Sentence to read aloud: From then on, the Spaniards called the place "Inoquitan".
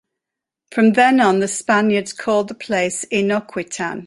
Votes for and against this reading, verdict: 2, 0, accepted